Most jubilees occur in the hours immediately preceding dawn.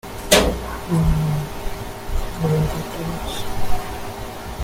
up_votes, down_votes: 0, 2